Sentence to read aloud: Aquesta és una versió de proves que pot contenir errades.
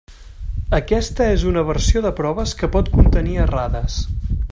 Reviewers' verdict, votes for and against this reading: accepted, 3, 0